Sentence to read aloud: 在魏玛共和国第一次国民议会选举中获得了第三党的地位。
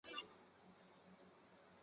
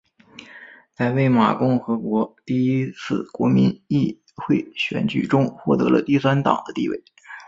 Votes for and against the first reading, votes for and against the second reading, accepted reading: 0, 2, 3, 0, second